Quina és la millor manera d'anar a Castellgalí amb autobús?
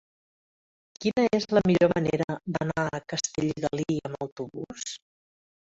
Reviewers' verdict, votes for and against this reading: accepted, 2, 0